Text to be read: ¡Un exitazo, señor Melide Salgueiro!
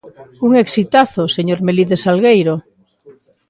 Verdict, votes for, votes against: accepted, 2, 0